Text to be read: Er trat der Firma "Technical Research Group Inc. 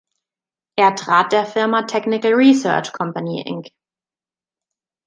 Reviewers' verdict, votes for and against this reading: rejected, 0, 2